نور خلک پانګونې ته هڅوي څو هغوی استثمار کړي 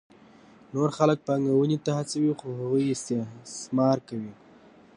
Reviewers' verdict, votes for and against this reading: accepted, 2, 0